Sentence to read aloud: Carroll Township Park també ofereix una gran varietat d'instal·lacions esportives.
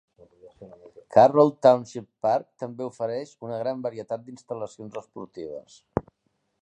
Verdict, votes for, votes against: accepted, 2, 0